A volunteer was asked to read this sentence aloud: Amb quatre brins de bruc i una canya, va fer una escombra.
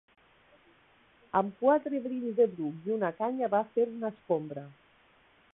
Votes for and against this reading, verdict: 1, 2, rejected